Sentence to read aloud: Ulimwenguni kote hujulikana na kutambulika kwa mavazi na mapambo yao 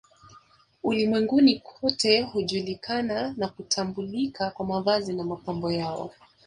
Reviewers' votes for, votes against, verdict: 2, 0, accepted